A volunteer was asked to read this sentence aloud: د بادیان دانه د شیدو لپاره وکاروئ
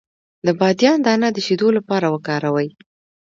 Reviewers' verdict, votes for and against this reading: accepted, 2, 0